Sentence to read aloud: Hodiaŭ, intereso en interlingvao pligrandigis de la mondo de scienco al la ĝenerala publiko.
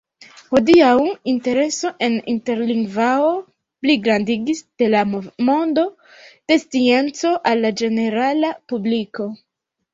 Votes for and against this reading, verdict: 1, 2, rejected